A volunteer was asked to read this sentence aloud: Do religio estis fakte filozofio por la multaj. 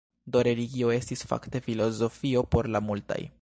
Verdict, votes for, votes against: accepted, 2, 0